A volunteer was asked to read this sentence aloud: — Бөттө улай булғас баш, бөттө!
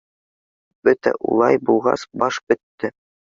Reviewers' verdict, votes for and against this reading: rejected, 1, 2